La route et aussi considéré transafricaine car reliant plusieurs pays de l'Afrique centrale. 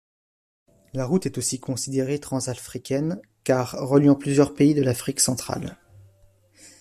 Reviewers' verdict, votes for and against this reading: accepted, 2, 0